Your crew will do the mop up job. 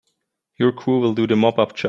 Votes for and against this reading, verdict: 2, 3, rejected